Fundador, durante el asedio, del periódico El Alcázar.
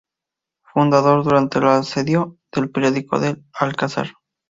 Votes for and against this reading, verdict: 0, 2, rejected